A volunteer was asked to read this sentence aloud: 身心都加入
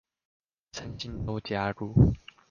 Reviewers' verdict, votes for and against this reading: accepted, 2, 0